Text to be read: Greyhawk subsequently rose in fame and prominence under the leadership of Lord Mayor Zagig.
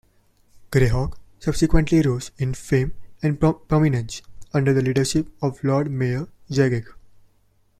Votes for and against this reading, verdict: 1, 2, rejected